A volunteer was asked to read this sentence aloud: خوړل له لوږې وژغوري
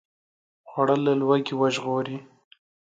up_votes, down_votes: 2, 0